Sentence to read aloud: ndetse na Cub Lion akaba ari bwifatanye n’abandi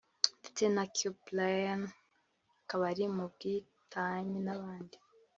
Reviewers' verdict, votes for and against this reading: rejected, 0, 2